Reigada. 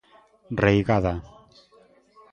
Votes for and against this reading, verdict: 0, 2, rejected